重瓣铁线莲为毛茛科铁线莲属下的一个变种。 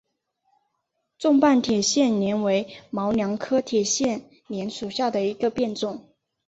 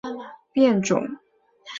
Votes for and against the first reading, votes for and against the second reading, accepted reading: 1, 2, 2, 0, second